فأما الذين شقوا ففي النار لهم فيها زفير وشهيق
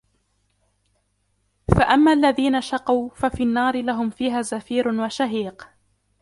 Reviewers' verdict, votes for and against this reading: rejected, 0, 2